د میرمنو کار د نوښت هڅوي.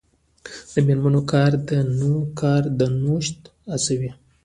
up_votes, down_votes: 0, 2